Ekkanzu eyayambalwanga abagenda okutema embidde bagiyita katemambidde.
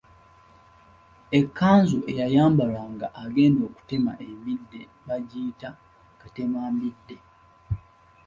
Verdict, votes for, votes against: accepted, 2, 0